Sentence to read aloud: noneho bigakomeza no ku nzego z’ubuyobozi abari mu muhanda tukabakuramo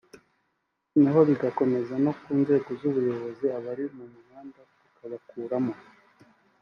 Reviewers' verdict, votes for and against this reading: accepted, 2, 0